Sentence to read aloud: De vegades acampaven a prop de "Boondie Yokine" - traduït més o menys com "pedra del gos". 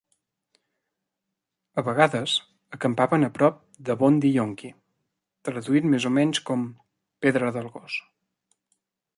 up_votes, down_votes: 0, 2